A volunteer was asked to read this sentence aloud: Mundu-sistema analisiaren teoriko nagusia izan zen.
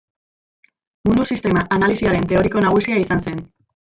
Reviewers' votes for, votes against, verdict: 0, 2, rejected